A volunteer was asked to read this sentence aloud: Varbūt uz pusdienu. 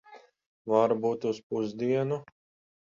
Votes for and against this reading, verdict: 10, 0, accepted